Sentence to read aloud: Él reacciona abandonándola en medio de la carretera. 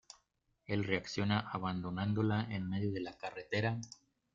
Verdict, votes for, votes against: accepted, 2, 0